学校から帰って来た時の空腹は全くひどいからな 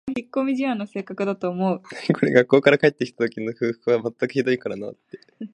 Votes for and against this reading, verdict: 1, 2, rejected